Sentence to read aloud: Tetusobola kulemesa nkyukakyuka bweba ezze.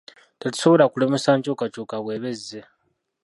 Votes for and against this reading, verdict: 0, 2, rejected